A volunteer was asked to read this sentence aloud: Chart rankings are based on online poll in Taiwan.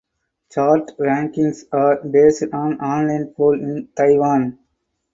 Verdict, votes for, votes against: accepted, 4, 0